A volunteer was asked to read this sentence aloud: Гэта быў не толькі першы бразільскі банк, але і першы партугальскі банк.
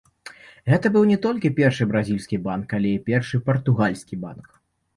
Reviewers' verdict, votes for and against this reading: rejected, 1, 2